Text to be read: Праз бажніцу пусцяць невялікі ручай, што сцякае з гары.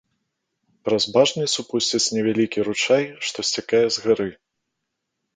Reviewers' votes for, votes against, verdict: 0, 2, rejected